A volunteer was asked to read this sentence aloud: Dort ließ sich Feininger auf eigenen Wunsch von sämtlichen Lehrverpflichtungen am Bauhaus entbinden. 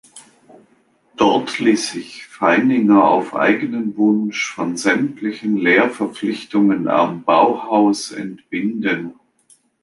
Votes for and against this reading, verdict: 3, 0, accepted